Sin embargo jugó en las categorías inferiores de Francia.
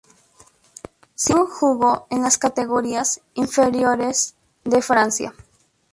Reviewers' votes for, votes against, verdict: 0, 2, rejected